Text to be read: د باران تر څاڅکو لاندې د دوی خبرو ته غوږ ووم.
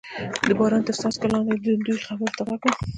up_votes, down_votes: 1, 2